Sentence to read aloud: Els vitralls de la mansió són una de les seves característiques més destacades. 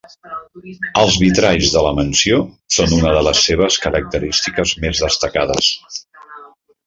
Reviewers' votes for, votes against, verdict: 3, 0, accepted